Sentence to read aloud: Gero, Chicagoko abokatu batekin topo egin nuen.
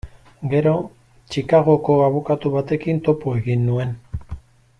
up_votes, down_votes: 2, 0